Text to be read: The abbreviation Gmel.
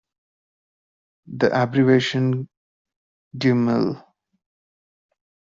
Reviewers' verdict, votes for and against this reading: rejected, 0, 2